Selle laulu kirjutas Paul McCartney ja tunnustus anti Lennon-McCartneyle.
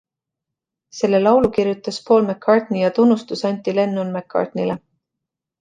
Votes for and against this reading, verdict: 2, 0, accepted